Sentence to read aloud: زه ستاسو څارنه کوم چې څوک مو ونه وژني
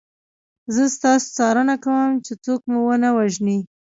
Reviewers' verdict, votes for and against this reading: rejected, 1, 2